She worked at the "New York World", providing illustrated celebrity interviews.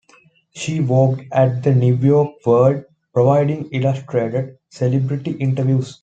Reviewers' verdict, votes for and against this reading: accepted, 2, 0